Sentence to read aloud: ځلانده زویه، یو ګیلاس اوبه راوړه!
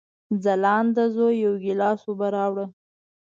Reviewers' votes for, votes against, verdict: 2, 0, accepted